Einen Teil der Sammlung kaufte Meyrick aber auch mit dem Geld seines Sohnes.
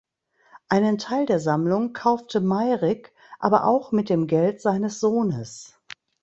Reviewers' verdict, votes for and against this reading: rejected, 1, 2